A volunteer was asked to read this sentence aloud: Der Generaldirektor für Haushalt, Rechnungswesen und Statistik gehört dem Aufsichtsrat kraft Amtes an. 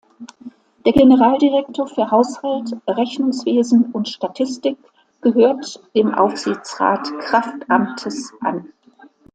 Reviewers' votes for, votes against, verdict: 2, 0, accepted